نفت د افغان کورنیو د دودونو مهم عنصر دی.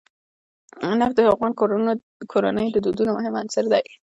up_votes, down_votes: 2, 1